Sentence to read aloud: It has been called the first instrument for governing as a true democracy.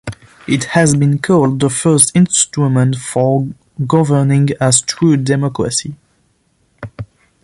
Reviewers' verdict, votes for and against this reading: rejected, 1, 2